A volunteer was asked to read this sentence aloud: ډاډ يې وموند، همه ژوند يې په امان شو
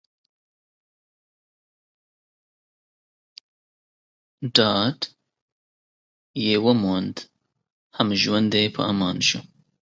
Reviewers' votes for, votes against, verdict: 1, 2, rejected